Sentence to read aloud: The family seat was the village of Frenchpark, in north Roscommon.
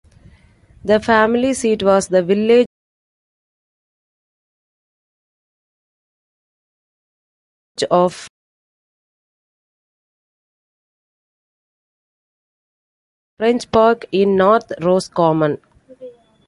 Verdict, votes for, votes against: rejected, 0, 2